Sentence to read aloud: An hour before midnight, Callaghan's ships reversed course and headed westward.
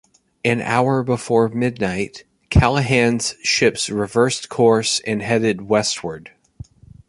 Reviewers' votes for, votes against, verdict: 0, 2, rejected